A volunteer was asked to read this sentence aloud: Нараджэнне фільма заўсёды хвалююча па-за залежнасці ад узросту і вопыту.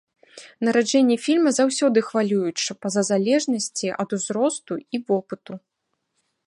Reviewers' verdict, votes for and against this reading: accepted, 2, 0